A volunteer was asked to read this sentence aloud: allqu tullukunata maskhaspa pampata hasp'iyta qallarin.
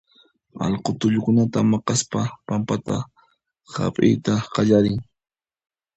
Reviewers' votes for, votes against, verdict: 0, 2, rejected